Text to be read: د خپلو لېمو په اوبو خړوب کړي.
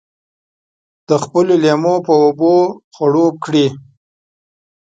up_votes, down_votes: 3, 0